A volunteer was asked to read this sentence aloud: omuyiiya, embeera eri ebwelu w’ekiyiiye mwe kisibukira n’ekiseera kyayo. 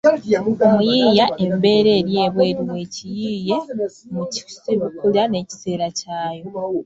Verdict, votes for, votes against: rejected, 1, 2